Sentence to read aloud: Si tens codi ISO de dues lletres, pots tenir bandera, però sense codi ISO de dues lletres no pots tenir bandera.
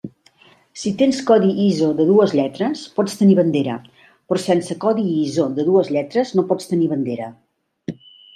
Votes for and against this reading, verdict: 1, 2, rejected